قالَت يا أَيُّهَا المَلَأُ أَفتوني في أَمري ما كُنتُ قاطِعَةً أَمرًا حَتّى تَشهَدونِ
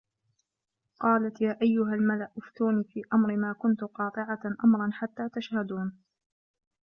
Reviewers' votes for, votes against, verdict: 2, 1, accepted